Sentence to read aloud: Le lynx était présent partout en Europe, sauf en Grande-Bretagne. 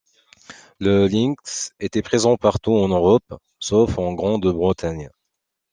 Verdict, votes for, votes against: rejected, 1, 2